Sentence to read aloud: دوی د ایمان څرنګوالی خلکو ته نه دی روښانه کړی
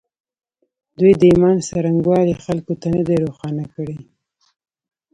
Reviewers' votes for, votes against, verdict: 2, 1, accepted